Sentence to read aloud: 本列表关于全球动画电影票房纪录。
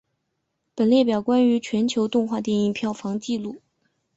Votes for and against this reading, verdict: 2, 0, accepted